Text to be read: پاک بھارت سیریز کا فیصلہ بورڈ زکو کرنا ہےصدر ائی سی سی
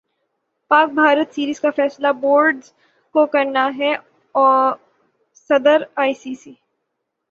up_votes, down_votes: 3, 6